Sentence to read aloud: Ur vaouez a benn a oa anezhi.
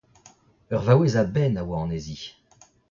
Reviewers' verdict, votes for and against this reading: rejected, 0, 2